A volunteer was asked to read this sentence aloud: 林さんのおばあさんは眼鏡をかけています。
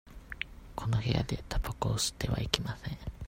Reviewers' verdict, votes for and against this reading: rejected, 0, 2